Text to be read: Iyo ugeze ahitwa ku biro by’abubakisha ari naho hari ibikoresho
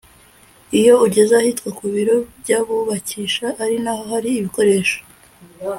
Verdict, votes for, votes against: accepted, 2, 0